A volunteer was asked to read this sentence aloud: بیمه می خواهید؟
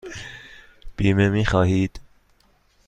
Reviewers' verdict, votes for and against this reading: accepted, 2, 0